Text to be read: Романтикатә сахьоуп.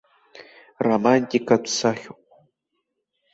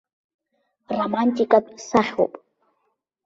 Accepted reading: first